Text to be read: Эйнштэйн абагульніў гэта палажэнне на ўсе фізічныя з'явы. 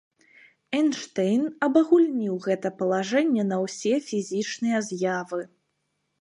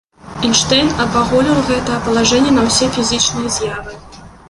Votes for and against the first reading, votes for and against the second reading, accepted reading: 3, 1, 0, 2, first